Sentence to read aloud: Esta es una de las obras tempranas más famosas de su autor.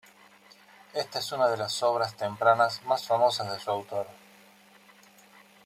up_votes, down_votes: 1, 2